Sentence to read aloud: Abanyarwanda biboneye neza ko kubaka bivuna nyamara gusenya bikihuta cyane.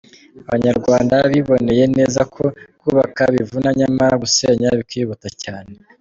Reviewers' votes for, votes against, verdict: 2, 0, accepted